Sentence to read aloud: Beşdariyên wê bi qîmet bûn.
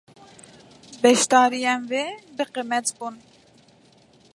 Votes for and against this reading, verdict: 0, 2, rejected